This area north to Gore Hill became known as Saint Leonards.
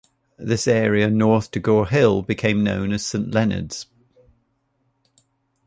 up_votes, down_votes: 1, 2